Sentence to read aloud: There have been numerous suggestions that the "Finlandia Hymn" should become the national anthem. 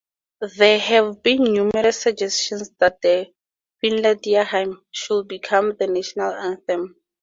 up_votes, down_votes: 4, 0